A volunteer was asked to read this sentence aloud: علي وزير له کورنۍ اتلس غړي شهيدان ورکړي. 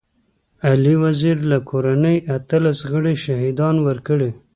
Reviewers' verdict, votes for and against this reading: accepted, 2, 0